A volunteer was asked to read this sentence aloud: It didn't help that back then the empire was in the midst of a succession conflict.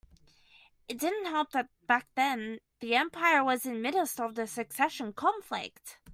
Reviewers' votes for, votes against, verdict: 0, 2, rejected